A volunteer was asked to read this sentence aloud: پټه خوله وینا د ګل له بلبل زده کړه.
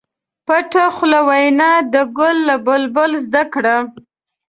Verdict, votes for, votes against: accepted, 2, 0